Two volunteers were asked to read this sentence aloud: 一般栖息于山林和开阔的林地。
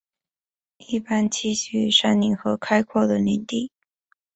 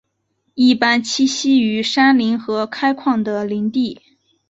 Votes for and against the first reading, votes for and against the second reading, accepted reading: 7, 0, 0, 2, first